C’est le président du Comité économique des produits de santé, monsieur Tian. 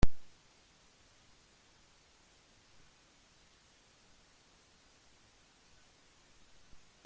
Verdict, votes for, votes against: rejected, 0, 2